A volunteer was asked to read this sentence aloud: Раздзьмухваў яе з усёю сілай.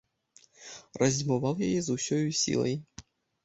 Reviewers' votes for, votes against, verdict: 0, 2, rejected